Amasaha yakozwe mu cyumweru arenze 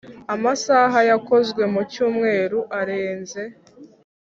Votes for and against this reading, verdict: 2, 0, accepted